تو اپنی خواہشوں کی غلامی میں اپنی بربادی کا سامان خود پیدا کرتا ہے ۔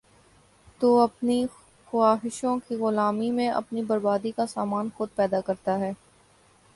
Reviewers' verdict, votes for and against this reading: accepted, 3, 0